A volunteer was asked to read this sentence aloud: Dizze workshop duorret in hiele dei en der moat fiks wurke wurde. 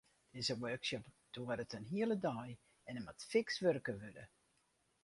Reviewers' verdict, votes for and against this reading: accepted, 4, 0